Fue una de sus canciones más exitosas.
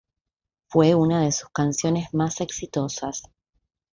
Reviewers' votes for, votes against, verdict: 1, 2, rejected